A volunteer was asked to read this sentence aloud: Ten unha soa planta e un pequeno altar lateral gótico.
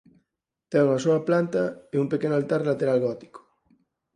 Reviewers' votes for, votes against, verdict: 4, 0, accepted